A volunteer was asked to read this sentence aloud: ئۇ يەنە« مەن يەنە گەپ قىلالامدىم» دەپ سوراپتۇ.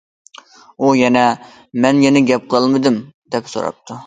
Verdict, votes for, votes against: rejected, 0, 2